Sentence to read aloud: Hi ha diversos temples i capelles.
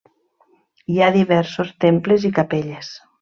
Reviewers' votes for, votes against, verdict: 3, 0, accepted